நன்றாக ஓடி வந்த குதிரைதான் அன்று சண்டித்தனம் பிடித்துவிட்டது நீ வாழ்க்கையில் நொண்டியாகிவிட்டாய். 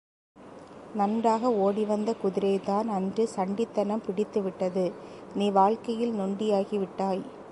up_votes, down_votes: 2, 1